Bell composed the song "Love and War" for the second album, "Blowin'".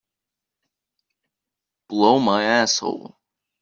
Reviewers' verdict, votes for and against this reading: rejected, 0, 2